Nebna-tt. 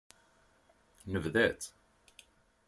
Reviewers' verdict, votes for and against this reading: rejected, 4, 5